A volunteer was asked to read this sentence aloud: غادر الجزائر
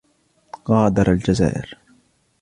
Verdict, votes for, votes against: accepted, 2, 0